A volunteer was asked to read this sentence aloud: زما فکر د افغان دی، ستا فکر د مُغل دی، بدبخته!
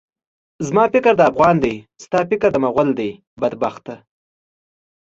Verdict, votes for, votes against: accepted, 2, 0